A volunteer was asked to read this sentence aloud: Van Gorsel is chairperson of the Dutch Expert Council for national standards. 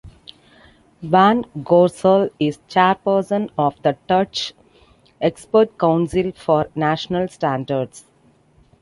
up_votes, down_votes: 2, 1